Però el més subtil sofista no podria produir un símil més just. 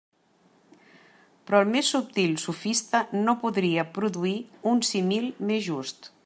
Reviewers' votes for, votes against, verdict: 1, 2, rejected